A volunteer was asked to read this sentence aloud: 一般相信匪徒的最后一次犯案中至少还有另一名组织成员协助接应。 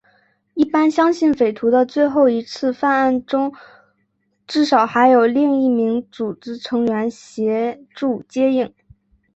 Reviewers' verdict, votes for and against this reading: accepted, 2, 0